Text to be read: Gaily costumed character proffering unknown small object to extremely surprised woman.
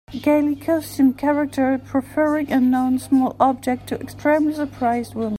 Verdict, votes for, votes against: rejected, 1, 3